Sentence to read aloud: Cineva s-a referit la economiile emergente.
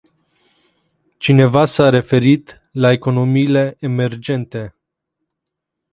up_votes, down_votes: 2, 2